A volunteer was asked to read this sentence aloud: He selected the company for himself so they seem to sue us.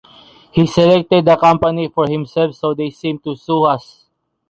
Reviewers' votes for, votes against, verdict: 2, 0, accepted